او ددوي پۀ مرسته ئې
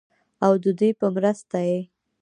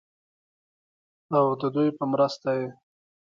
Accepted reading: second